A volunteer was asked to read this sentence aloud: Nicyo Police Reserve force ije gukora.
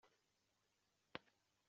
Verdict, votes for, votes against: rejected, 0, 2